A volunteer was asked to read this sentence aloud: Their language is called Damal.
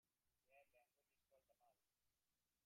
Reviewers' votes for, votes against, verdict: 0, 2, rejected